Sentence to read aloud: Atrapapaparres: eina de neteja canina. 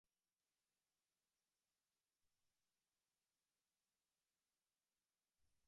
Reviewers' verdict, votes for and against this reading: rejected, 0, 2